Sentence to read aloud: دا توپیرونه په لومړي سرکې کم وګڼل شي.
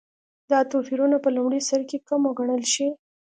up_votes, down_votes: 2, 0